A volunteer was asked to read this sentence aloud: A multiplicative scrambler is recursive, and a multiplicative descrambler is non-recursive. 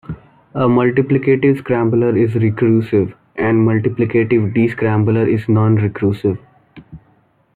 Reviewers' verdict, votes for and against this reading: accepted, 2, 0